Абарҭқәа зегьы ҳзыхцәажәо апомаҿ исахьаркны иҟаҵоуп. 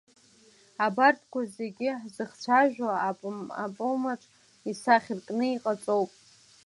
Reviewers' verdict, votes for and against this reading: rejected, 0, 2